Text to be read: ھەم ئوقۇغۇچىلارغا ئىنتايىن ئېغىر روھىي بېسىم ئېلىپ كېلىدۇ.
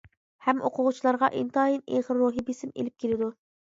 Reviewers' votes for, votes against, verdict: 2, 0, accepted